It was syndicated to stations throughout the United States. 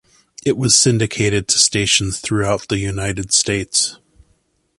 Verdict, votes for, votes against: accepted, 2, 0